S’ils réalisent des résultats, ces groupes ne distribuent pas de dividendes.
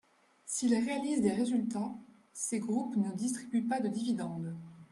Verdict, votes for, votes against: rejected, 1, 2